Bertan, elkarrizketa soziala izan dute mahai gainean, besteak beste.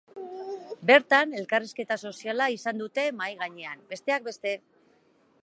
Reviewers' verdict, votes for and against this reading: accepted, 2, 0